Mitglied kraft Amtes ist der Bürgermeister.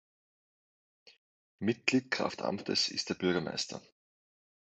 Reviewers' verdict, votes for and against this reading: accepted, 2, 0